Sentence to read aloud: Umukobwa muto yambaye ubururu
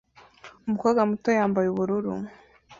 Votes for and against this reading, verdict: 2, 1, accepted